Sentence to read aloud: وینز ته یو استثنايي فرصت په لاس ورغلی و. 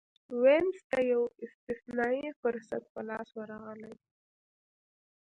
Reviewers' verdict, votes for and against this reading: accepted, 2, 0